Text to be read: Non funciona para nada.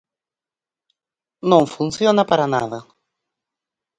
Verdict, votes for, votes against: accepted, 4, 0